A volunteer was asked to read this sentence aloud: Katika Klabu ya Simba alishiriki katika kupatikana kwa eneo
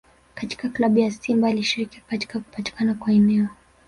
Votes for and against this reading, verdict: 1, 2, rejected